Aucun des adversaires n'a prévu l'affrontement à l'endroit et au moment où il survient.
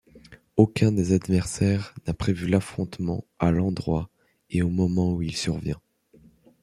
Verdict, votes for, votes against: accepted, 2, 0